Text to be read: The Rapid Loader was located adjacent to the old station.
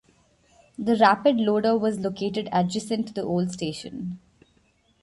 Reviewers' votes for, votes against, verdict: 1, 2, rejected